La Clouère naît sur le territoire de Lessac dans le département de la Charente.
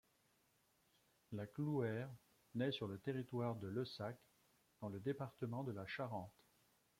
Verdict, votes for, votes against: accepted, 2, 1